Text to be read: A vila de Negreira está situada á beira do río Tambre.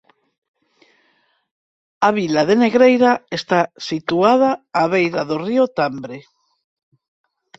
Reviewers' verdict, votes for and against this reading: accepted, 4, 0